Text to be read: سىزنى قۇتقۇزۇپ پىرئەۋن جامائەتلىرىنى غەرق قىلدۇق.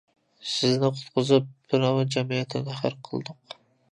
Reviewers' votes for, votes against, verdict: 1, 2, rejected